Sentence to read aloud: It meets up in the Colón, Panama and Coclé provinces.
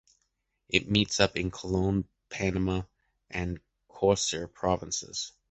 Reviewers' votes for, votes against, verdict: 0, 2, rejected